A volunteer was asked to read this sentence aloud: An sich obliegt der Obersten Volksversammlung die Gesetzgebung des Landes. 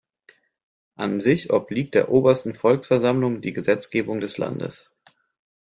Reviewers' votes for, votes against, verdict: 2, 0, accepted